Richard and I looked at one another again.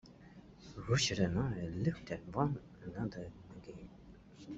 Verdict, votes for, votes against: rejected, 0, 2